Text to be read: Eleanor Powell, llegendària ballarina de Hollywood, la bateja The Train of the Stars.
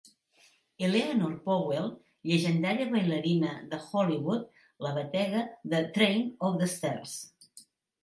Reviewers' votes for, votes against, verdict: 0, 2, rejected